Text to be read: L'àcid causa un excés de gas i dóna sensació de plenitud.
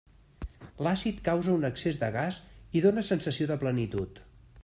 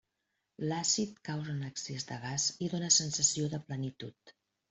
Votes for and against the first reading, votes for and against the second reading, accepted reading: 2, 0, 0, 2, first